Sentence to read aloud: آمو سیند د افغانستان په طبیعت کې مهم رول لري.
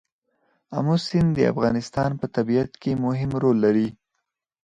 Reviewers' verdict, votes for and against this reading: rejected, 2, 4